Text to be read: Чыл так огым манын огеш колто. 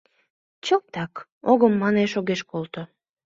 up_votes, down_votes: 0, 2